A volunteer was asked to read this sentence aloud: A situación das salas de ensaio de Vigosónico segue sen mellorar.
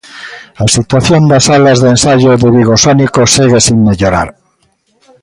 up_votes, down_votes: 2, 0